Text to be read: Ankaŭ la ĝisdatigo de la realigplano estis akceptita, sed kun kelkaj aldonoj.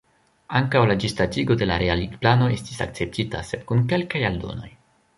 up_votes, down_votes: 1, 2